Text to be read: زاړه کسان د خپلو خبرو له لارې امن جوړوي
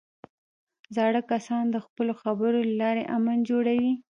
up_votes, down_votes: 1, 2